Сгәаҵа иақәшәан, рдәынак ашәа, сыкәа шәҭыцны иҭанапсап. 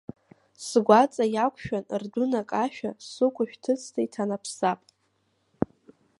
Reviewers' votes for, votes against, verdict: 3, 2, accepted